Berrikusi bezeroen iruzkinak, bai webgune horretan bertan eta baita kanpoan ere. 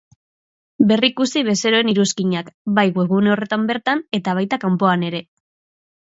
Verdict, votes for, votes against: accepted, 2, 0